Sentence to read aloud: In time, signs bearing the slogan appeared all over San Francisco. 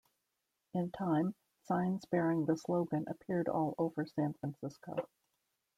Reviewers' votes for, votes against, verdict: 2, 0, accepted